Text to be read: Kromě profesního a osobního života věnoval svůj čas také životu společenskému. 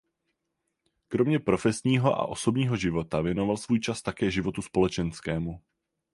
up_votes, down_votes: 8, 0